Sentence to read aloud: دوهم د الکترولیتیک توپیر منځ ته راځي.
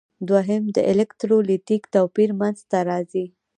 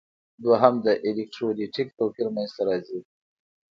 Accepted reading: second